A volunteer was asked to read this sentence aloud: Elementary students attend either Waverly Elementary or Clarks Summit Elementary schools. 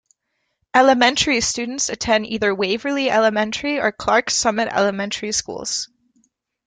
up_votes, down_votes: 2, 0